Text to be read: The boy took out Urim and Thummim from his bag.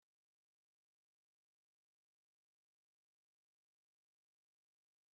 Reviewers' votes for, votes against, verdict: 0, 3, rejected